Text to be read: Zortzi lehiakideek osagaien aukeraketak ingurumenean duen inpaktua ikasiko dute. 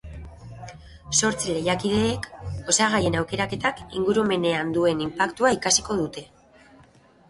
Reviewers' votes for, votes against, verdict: 3, 0, accepted